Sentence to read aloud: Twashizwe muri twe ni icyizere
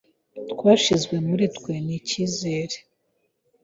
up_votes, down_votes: 2, 0